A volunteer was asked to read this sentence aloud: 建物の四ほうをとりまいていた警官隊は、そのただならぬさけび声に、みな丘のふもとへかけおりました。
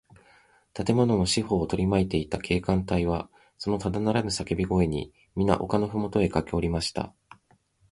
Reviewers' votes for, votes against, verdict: 2, 0, accepted